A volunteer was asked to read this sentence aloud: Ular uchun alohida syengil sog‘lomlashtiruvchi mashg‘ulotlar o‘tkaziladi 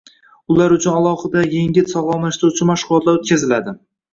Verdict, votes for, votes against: rejected, 1, 2